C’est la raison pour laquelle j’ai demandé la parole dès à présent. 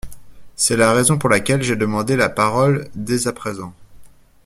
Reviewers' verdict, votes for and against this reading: accepted, 2, 0